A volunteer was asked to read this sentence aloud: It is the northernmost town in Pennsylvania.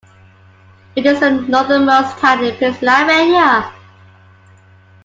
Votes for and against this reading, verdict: 1, 2, rejected